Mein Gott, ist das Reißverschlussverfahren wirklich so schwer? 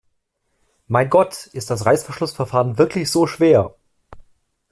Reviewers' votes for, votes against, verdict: 2, 0, accepted